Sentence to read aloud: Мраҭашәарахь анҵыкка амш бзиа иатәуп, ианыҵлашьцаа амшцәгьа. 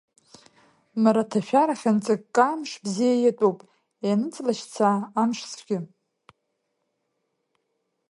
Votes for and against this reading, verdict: 2, 0, accepted